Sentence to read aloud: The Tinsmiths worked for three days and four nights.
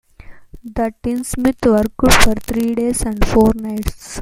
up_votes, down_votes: 2, 0